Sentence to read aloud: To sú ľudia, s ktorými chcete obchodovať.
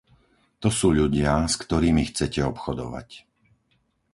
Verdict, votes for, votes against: accepted, 4, 0